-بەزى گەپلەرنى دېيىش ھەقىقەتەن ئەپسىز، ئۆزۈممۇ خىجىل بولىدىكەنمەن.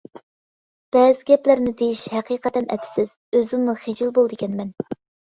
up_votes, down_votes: 2, 0